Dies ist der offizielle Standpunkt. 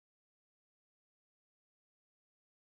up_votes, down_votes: 0, 2